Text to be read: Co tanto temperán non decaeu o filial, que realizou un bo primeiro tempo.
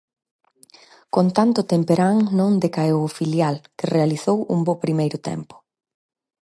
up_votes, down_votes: 2, 4